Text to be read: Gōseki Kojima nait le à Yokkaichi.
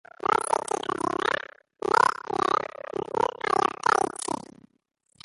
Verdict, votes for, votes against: rejected, 0, 2